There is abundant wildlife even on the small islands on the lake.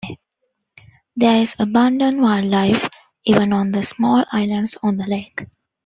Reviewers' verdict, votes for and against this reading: accepted, 2, 0